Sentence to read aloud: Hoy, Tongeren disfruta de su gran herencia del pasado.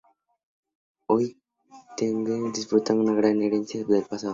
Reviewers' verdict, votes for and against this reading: rejected, 0, 2